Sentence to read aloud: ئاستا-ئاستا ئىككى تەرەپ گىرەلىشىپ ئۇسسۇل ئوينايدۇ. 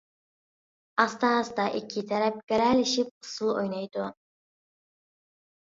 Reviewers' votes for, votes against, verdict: 2, 0, accepted